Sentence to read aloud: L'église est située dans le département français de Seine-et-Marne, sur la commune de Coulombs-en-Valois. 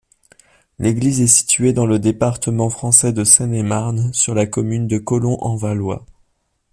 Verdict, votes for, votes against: rejected, 1, 2